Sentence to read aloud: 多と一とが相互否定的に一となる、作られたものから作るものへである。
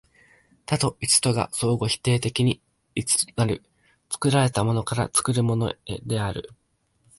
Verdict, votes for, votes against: rejected, 1, 2